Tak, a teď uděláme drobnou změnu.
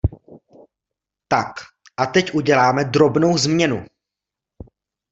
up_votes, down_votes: 2, 0